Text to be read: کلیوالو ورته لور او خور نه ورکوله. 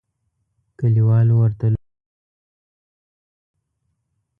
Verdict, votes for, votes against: rejected, 0, 2